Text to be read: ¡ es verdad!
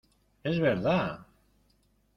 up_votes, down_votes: 0, 2